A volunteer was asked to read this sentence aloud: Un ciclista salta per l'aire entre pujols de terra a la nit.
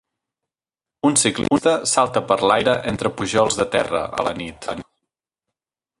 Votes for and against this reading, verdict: 0, 2, rejected